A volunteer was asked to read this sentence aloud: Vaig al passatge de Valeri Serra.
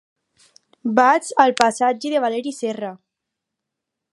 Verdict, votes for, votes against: accepted, 4, 0